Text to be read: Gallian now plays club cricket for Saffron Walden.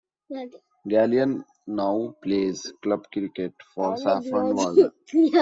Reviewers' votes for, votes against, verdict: 0, 2, rejected